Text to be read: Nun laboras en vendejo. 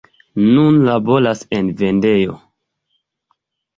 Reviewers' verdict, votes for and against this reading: accepted, 2, 0